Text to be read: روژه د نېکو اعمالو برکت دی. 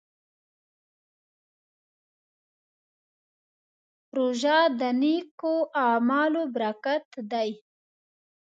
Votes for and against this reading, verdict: 1, 2, rejected